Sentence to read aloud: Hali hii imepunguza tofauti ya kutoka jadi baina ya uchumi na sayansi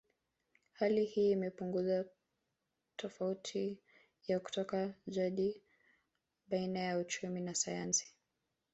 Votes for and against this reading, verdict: 1, 2, rejected